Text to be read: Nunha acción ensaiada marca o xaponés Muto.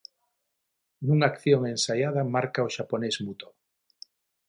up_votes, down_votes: 6, 0